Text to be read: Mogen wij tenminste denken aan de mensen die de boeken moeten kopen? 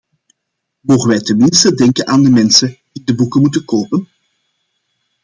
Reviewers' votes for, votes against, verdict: 2, 1, accepted